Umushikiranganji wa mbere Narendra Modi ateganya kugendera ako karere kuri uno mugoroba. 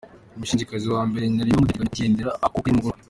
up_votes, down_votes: 0, 2